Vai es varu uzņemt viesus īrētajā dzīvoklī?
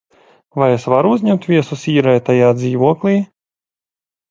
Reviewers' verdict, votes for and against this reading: accepted, 2, 0